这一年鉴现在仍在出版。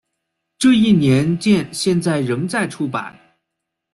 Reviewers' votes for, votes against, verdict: 2, 0, accepted